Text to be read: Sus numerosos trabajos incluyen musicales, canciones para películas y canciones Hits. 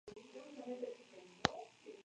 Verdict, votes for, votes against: rejected, 0, 4